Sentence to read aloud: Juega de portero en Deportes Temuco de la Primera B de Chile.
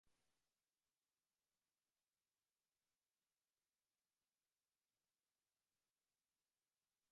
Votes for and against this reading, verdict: 0, 4, rejected